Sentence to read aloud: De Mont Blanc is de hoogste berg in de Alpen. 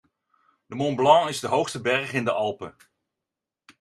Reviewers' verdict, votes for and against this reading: accepted, 2, 0